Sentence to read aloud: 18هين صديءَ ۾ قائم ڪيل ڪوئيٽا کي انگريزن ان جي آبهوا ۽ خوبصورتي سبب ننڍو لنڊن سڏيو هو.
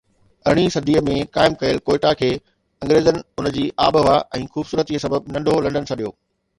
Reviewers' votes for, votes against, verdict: 0, 2, rejected